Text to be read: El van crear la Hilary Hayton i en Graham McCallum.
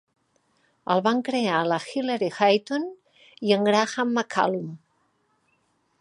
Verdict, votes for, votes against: accepted, 2, 0